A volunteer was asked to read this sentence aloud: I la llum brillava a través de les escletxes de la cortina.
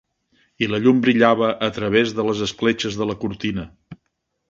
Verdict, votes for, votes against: accepted, 3, 0